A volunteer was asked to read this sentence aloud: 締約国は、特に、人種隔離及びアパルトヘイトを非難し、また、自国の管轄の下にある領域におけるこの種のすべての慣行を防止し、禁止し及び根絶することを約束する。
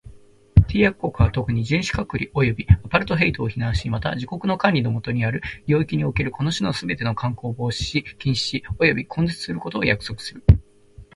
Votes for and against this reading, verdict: 0, 2, rejected